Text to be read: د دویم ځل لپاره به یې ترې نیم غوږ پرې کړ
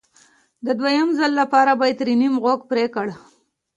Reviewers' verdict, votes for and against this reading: accepted, 2, 0